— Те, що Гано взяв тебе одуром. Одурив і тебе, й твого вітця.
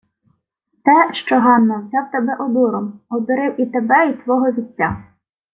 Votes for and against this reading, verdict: 1, 2, rejected